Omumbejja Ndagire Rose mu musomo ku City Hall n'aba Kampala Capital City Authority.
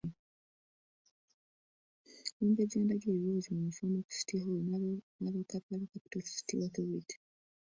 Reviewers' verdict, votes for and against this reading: rejected, 0, 2